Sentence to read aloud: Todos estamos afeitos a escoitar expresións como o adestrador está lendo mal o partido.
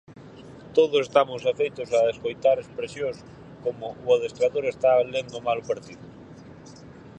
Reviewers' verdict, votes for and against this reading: accepted, 4, 0